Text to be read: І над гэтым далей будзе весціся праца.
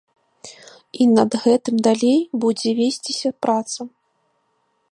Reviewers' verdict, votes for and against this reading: accepted, 2, 0